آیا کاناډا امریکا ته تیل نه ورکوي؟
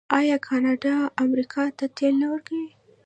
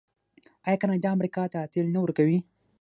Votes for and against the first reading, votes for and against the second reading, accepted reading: 1, 2, 6, 0, second